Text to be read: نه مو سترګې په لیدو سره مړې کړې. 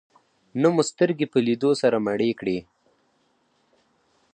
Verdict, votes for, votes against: accepted, 4, 0